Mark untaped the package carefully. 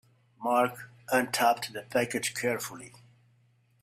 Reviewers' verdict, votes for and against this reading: rejected, 2, 3